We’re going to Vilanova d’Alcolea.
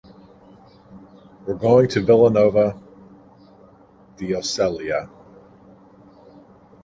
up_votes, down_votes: 1, 2